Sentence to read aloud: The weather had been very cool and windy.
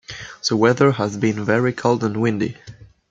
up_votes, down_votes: 0, 2